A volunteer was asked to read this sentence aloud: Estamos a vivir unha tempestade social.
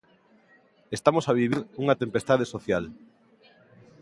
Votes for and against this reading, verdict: 2, 1, accepted